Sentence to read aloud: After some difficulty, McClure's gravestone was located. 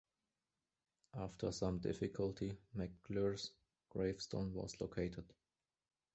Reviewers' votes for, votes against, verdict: 2, 0, accepted